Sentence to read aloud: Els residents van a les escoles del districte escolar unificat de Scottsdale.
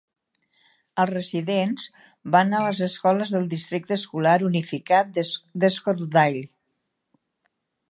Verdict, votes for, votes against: rejected, 0, 2